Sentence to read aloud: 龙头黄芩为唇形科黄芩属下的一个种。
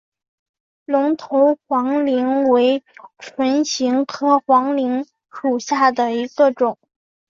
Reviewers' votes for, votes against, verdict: 0, 2, rejected